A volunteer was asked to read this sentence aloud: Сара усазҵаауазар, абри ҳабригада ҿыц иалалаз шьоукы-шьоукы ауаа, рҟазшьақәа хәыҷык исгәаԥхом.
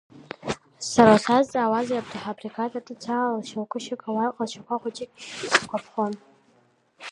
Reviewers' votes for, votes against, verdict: 0, 2, rejected